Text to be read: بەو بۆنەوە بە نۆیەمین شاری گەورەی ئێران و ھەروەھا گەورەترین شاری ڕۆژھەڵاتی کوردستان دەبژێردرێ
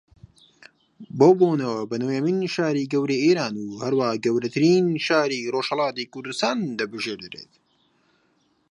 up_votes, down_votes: 2, 0